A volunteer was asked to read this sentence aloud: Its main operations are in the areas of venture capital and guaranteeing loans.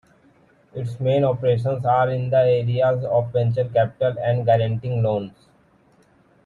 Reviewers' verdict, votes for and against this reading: accepted, 2, 1